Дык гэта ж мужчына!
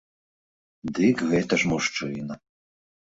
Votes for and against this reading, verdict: 1, 2, rejected